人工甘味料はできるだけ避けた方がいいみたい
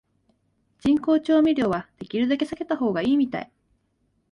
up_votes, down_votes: 1, 4